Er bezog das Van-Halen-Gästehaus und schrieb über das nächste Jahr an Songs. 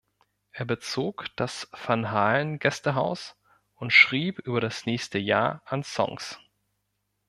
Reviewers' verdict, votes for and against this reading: accepted, 2, 0